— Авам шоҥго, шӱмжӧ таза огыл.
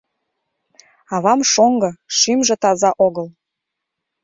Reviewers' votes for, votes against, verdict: 2, 0, accepted